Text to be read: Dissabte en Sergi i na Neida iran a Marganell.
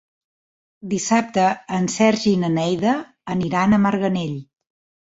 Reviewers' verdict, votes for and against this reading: rejected, 1, 2